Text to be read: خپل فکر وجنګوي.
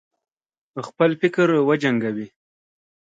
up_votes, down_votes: 2, 0